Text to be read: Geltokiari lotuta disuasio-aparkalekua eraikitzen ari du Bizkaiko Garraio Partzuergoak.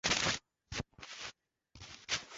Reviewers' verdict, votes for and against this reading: rejected, 0, 2